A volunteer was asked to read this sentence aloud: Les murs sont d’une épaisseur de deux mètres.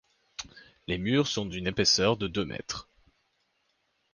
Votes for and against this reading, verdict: 2, 0, accepted